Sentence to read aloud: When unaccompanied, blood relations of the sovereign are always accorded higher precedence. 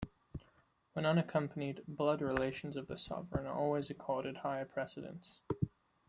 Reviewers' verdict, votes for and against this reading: rejected, 1, 2